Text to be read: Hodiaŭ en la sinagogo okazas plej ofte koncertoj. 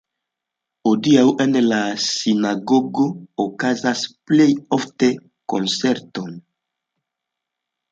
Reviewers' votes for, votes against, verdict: 0, 2, rejected